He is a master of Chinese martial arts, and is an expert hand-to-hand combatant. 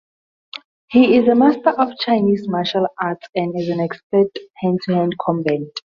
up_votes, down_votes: 2, 0